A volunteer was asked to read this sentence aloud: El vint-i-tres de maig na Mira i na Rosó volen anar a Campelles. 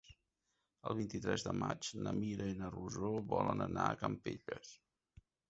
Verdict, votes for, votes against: rejected, 0, 2